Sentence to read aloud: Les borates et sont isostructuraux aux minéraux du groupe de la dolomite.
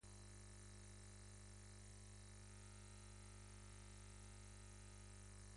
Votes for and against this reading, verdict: 1, 2, rejected